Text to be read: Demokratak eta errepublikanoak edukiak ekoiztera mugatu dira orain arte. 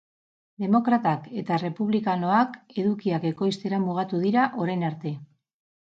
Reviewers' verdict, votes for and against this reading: accepted, 4, 0